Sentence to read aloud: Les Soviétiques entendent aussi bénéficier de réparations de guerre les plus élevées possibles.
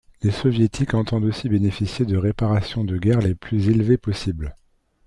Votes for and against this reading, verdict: 2, 0, accepted